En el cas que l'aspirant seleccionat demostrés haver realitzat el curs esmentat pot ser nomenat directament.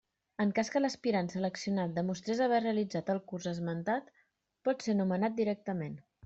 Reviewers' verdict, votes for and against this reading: rejected, 0, 2